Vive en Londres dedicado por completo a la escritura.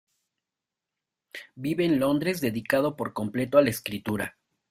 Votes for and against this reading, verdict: 2, 0, accepted